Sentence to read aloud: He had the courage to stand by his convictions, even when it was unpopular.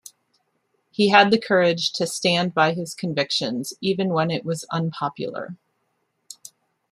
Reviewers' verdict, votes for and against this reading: accepted, 2, 0